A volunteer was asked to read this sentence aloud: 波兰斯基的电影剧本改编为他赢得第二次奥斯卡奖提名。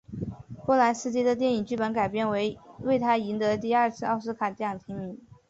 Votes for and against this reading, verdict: 3, 0, accepted